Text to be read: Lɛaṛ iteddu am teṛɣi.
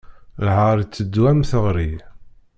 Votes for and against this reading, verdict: 0, 2, rejected